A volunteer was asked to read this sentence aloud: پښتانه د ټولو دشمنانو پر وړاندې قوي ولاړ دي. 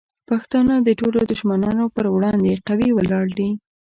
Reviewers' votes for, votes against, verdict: 2, 0, accepted